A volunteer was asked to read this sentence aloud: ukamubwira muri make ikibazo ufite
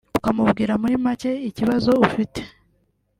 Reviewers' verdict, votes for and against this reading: accepted, 2, 0